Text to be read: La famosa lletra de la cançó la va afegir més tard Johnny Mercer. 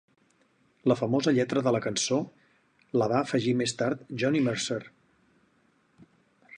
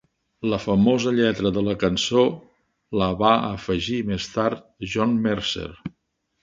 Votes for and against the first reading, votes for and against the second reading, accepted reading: 4, 0, 0, 2, first